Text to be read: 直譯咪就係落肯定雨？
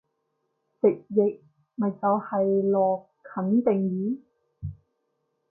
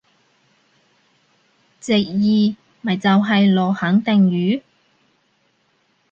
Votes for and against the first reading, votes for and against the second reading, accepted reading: 2, 0, 0, 2, first